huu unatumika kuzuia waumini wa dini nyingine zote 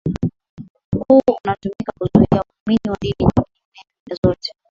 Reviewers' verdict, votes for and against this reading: accepted, 6, 4